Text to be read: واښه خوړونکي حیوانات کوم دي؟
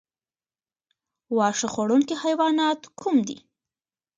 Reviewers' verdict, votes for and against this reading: accepted, 2, 1